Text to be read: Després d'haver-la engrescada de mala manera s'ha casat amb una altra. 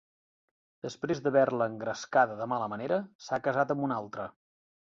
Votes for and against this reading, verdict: 3, 0, accepted